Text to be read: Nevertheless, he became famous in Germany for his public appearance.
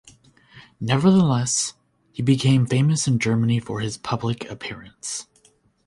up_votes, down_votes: 2, 0